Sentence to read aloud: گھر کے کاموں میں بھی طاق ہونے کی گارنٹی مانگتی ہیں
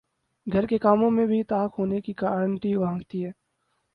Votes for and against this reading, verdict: 0, 4, rejected